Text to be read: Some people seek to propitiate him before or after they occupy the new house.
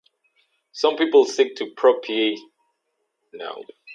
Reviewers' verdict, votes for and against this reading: rejected, 0, 4